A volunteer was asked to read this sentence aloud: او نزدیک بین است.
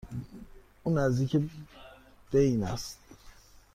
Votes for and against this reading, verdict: 1, 2, rejected